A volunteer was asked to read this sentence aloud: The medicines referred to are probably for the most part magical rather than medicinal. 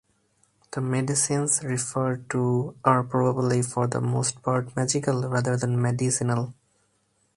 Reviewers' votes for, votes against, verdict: 2, 0, accepted